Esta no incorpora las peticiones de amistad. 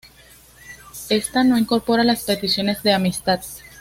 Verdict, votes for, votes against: accepted, 2, 0